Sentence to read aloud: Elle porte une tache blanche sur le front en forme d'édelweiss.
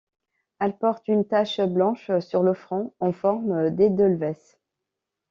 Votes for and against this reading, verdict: 2, 0, accepted